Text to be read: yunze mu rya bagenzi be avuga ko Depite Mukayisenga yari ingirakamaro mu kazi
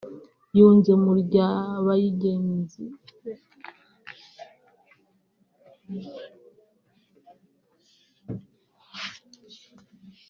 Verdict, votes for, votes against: rejected, 0, 2